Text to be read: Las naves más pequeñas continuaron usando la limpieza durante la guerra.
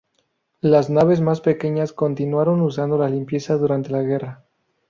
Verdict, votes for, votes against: rejected, 2, 2